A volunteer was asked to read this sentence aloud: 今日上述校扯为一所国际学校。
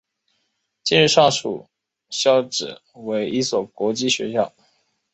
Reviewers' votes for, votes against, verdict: 4, 0, accepted